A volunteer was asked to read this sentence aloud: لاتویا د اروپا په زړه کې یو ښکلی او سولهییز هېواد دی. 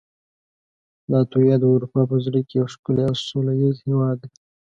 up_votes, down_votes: 2, 1